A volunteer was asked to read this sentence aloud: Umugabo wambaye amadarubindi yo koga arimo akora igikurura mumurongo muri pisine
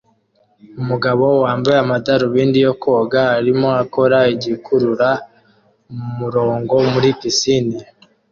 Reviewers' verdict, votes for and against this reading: accepted, 2, 0